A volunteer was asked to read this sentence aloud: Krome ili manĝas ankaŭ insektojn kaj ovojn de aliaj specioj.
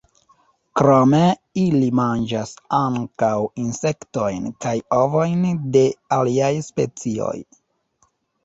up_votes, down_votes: 0, 2